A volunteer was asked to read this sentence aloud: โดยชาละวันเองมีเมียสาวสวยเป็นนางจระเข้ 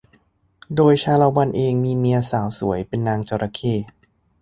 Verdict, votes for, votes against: accepted, 2, 0